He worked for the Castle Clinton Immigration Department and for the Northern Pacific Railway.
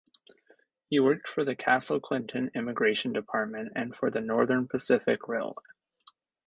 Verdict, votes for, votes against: accepted, 2, 0